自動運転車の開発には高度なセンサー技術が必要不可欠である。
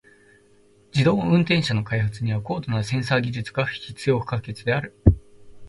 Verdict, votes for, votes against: rejected, 1, 2